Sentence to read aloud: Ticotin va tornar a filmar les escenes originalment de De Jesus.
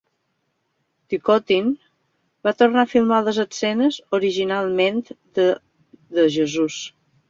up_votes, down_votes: 0, 2